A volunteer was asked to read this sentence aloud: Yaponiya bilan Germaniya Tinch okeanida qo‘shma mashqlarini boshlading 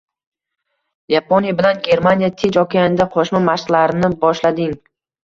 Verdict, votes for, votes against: rejected, 1, 2